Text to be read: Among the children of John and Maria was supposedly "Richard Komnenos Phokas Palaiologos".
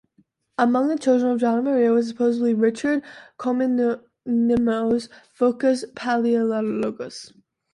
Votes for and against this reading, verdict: 1, 2, rejected